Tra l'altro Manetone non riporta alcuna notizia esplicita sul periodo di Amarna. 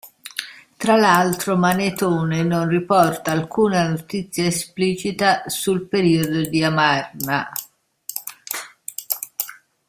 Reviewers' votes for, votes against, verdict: 2, 0, accepted